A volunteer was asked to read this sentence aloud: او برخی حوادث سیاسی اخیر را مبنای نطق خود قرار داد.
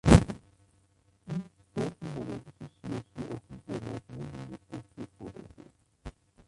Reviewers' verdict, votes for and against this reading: rejected, 0, 2